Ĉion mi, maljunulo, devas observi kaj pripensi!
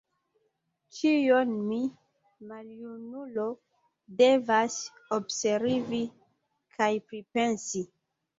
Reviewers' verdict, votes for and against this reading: rejected, 1, 2